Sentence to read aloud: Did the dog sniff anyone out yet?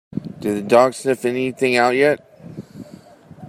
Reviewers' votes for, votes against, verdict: 0, 2, rejected